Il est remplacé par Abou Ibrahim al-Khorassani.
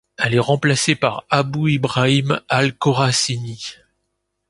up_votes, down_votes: 0, 3